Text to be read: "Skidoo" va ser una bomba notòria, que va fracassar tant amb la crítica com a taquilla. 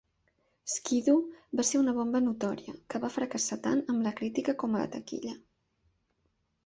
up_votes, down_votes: 1, 2